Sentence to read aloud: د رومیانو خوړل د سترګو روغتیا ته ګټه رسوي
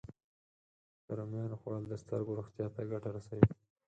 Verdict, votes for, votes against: accepted, 4, 0